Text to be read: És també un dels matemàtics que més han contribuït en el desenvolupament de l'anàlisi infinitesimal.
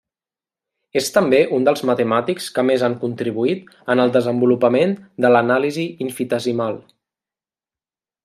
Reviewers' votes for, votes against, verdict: 0, 2, rejected